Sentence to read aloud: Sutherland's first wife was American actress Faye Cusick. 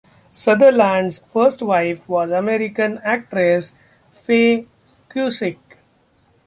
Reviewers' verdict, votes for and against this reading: accepted, 2, 0